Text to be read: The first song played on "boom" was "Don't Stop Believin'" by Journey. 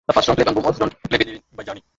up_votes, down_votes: 0, 2